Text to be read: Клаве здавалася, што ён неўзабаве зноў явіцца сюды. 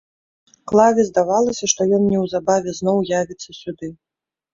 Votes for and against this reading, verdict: 2, 0, accepted